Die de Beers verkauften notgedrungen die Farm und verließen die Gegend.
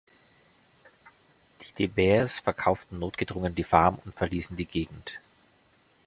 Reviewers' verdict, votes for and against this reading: accepted, 2, 0